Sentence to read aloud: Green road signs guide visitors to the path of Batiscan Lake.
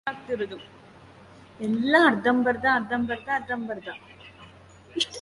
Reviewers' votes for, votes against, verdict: 0, 2, rejected